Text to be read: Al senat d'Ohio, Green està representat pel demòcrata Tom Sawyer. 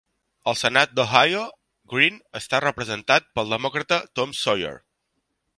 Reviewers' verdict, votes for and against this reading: accepted, 3, 0